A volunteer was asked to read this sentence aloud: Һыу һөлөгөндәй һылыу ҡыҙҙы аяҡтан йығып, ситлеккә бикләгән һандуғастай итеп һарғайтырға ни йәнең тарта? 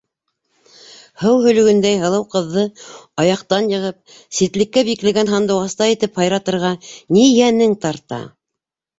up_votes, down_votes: 2, 1